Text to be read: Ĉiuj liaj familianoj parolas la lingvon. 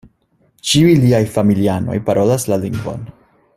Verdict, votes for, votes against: accepted, 2, 0